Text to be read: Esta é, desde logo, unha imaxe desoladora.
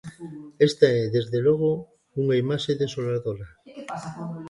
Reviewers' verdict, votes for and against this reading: rejected, 1, 2